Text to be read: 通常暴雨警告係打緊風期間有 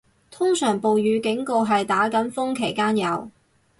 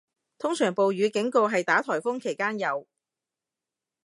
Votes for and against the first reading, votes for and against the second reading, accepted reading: 6, 0, 1, 2, first